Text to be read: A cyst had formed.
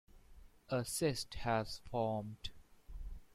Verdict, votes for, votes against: rejected, 1, 2